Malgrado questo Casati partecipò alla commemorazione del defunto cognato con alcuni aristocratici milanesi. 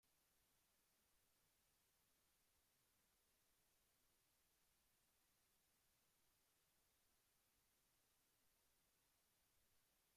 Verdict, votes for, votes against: rejected, 0, 2